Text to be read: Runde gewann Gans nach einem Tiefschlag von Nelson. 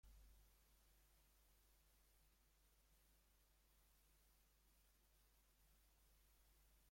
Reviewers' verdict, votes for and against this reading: rejected, 0, 2